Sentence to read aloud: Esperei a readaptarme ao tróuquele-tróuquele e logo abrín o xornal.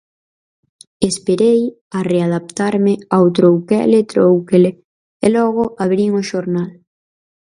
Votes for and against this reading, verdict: 2, 2, rejected